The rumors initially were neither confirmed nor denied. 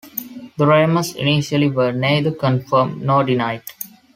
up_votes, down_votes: 2, 0